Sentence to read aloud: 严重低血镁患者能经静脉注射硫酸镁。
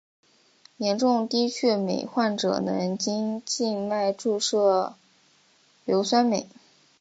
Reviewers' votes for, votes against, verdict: 2, 0, accepted